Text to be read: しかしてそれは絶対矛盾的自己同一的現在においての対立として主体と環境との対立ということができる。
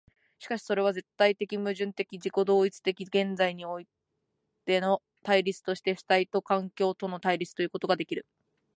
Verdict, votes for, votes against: accepted, 2, 0